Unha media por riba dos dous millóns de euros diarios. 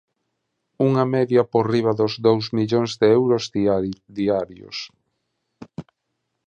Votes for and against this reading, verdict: 1, 2, rejected